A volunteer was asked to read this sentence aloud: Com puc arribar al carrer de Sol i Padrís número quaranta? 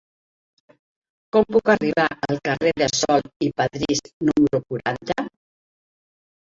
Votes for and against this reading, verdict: 1, 2, rejected